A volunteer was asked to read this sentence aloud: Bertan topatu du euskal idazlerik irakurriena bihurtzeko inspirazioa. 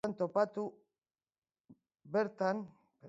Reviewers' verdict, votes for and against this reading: accepted, 2, 1